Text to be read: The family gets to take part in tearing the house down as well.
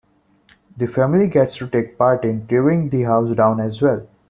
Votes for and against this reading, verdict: 2, 0, accepted